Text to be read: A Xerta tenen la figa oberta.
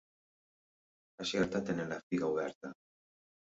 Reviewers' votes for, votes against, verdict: 2, 0, accepted